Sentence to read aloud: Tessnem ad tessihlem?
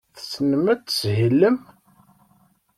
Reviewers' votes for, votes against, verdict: 1, 2, rejected